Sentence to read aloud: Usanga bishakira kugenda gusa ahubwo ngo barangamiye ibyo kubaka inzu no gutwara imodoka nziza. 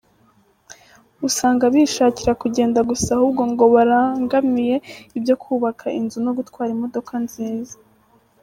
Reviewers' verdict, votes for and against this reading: accepted, 2, 0